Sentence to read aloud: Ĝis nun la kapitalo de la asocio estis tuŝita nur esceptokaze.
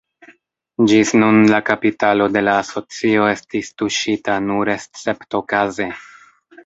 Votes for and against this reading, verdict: 2, 0, accepted